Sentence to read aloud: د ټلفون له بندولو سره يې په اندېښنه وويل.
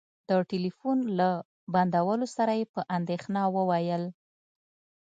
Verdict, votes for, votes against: accepted, 2, 0